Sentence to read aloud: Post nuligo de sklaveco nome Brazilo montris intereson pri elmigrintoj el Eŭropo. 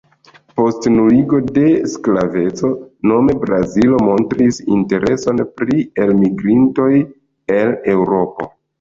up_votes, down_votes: 1, 2